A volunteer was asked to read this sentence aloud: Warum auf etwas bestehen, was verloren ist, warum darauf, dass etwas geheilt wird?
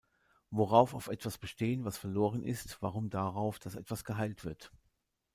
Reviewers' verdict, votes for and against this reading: rejected, 0, 2